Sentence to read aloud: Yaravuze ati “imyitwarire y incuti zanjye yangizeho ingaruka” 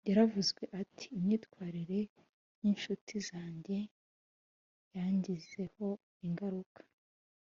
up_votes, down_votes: 2, 0